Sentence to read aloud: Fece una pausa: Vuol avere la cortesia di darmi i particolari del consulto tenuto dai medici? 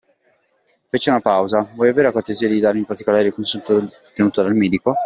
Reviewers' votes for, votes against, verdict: 0, 2, rejected